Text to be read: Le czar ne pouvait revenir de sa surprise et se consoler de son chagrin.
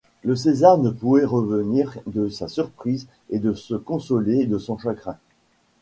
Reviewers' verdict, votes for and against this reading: rejected, 1, 2